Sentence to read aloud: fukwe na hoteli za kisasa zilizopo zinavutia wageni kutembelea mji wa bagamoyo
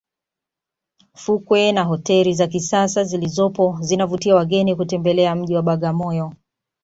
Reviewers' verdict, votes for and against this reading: accepted, 2, 0